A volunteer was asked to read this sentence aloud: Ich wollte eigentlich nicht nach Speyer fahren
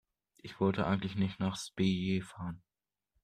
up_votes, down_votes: 0, 2